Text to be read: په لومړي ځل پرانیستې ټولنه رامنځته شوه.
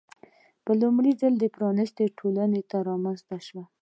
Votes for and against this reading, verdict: 2, 0, accepted